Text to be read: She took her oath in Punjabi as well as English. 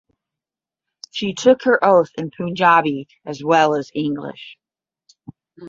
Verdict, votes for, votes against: accepted, 10, 0